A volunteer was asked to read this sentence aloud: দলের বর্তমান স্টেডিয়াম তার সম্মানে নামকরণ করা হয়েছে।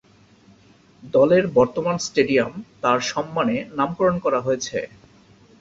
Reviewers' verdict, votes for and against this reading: accepted, 14, 2